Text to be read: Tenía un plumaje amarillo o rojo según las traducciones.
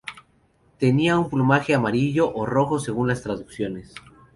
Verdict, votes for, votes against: accepted, 2, 0